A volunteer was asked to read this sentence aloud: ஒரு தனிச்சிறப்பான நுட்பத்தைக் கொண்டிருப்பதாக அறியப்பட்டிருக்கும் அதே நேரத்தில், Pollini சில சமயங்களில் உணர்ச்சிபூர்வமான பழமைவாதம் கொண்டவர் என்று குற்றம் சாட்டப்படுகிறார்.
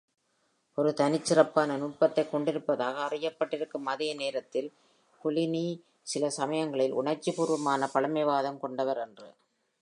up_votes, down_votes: 0, 2